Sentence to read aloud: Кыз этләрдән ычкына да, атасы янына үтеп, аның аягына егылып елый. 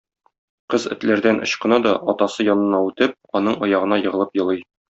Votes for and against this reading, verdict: 2, 0, accepted